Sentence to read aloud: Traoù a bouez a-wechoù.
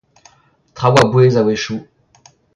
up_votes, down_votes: 2, 1